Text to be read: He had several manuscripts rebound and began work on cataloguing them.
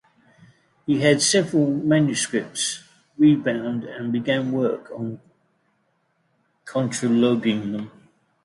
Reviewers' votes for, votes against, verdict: 0, 2, rejected